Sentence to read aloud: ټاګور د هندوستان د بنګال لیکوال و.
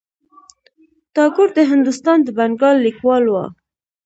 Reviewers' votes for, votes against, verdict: 1, 2, rejected